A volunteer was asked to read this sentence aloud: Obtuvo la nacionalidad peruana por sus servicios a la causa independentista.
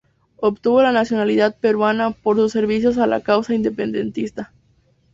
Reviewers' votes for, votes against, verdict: 0, 2, rejected